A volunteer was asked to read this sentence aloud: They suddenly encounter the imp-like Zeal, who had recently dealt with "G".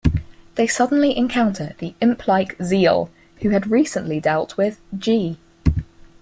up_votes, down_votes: 4, 0